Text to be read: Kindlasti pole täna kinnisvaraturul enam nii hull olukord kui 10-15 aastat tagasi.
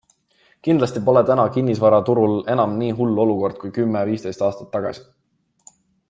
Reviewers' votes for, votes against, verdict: 0, 2, rejected